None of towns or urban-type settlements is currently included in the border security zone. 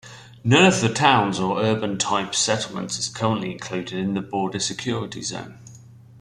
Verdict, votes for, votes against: accepted, 2, 0